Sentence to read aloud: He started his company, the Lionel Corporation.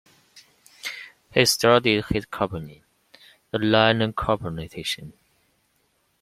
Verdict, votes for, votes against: rejected, 0, 2